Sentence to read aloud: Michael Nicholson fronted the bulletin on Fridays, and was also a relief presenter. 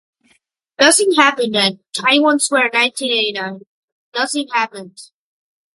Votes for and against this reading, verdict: 0, 2, rejected